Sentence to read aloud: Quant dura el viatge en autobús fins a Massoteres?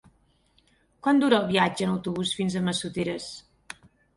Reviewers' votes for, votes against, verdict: 8, 0, accepted